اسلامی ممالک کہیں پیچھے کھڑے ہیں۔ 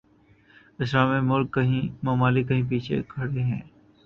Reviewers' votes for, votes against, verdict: 0, 2, rejected